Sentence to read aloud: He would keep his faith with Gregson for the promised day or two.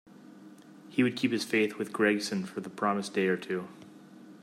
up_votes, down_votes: 2, 0